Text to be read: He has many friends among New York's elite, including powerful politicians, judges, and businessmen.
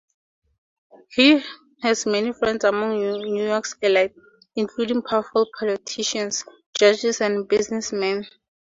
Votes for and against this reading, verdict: 4, 0, accepted